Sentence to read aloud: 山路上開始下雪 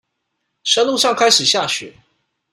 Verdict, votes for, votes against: accepted, 2, 1